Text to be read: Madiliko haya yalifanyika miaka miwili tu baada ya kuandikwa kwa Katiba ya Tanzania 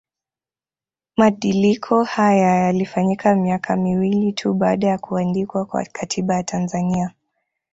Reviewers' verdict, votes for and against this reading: accepted, 2, 0